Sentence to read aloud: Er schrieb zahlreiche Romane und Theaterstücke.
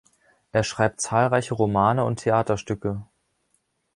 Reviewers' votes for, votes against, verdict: 0, 2, rejected